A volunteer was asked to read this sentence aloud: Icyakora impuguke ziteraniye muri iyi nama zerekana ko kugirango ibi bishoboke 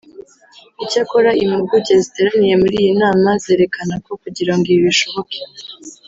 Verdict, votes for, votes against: rejected, 1, 2